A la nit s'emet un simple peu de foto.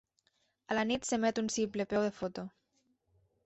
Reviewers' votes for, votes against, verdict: 1, 2, rejected